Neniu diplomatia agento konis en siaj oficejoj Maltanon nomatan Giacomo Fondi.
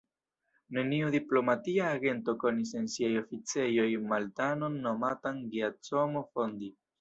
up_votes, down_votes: 0, 2